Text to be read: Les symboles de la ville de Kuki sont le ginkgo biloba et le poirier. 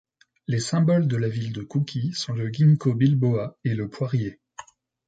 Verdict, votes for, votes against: rejected, 1, 2